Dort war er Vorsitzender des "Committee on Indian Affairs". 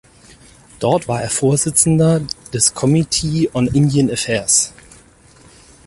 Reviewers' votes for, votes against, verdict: 4, 0, accepted